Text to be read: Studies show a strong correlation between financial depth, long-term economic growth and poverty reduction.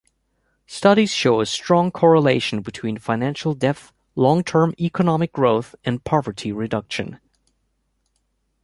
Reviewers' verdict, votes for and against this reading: accepted, 2, 0